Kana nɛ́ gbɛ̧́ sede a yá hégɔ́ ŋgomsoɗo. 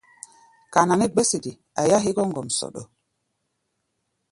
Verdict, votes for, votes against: accepted, 2, 0